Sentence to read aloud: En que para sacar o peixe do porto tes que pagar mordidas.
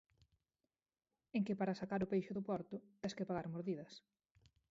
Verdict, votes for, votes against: rejected, 0, 4